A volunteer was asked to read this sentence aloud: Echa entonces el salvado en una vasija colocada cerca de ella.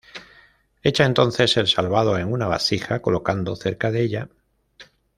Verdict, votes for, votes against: rejected, 1, 2